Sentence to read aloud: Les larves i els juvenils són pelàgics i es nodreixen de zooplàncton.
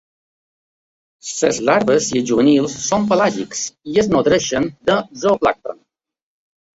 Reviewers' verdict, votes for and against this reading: rejected, 1, 2